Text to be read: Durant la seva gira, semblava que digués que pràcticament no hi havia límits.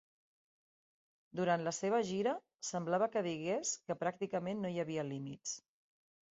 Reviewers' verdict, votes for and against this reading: accepted, 3, 0